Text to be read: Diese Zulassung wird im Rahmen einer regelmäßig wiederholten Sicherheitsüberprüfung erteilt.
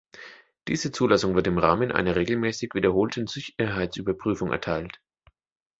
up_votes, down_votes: 1, 2